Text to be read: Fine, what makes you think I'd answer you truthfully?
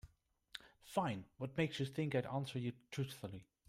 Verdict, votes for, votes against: rejected, 1, 2